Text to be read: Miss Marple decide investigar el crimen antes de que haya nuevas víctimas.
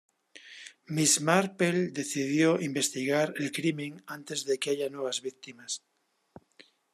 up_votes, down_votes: 0, 2